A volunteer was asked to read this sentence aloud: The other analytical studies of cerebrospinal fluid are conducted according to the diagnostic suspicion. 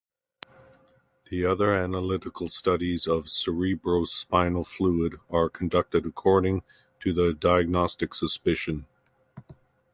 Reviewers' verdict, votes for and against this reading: accepted, 2, 1